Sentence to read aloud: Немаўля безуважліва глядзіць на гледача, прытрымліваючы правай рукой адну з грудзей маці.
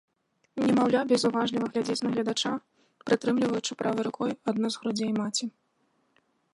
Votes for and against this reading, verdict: 1, 2, rejected